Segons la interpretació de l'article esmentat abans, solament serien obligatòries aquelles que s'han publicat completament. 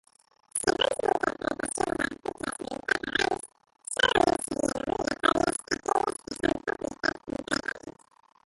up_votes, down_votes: 0, 2